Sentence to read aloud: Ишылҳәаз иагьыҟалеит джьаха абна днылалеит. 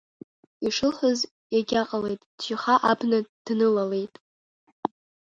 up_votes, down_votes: 3, 0